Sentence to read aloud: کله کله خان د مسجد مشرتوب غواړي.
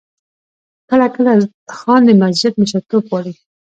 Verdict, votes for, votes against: accepted, 2, 0